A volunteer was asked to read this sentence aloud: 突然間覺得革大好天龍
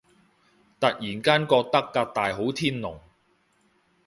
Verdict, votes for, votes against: accepted, 3, 0